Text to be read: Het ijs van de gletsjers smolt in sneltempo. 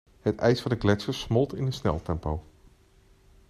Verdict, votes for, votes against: accepted, 2, 0